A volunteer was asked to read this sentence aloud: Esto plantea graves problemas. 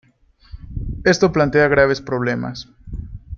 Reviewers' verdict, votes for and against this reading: accepted, 2, 0